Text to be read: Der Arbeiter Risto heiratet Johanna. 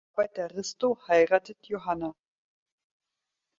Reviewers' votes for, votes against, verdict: 0, 4, rejected